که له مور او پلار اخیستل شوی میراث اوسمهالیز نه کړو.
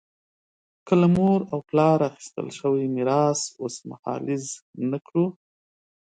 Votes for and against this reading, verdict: 4, 0, accepted